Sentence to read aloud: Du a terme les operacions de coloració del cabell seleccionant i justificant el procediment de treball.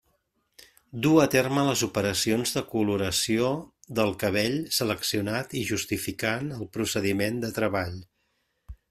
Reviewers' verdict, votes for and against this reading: accepted, 2, 1